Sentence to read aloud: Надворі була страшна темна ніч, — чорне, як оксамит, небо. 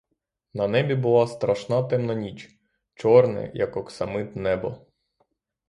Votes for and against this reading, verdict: 0, 6, rejected